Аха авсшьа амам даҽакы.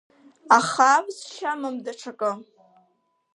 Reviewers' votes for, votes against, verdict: 4, 0, accepted